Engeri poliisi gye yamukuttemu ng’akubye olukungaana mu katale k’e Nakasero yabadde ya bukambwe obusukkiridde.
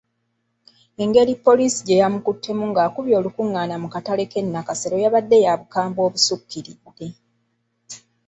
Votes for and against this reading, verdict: 2, 1, accepted